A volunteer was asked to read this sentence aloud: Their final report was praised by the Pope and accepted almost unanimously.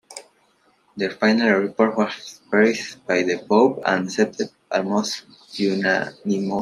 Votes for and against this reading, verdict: 0, 2, rejected